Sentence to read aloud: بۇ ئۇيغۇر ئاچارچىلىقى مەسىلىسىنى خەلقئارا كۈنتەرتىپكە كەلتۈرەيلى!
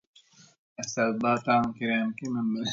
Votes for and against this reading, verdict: 0, 2, rejected